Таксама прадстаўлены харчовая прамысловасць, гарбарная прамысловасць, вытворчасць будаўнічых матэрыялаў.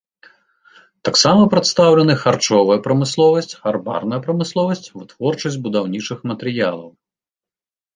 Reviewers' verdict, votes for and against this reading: accepted, 2, 0